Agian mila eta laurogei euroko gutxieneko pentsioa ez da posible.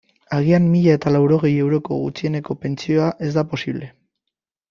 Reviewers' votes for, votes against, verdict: 3, 0, accepted